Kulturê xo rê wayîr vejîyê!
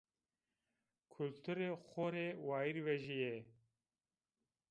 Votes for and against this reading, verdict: 1, 2, rejected